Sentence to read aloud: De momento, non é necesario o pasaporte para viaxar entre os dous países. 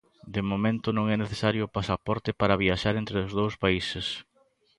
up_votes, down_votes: 2, 0